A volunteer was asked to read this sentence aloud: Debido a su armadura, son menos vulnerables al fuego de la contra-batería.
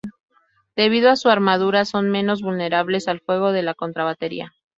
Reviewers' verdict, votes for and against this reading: rejected, 2, 2